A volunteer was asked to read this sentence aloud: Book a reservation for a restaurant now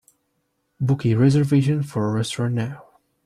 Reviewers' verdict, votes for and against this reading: rejected, 0, 2